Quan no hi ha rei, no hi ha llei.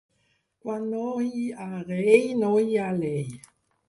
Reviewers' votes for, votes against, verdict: 0, 4, rejected